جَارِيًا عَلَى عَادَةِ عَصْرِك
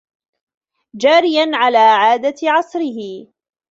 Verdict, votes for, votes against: rejected, 1, 2